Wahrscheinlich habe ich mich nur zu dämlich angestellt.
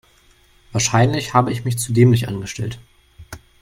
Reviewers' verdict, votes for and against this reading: rejected, 0, 5